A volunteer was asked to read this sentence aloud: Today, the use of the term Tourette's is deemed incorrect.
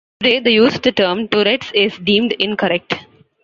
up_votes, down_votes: 0, 2